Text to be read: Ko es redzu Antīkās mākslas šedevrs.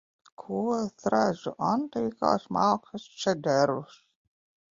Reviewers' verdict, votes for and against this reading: rejected, 0, 2